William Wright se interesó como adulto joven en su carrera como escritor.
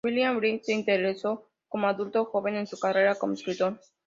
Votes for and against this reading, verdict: 2, 0, accepted